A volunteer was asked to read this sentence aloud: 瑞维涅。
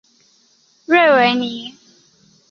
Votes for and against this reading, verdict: 8, 0, accepted